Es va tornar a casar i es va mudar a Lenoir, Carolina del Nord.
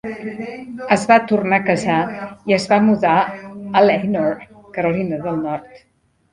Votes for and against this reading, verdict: 0, 2, rejected